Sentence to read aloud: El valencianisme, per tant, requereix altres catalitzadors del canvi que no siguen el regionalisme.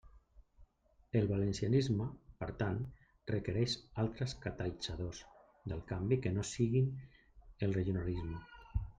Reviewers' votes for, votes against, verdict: 1, 2, rejected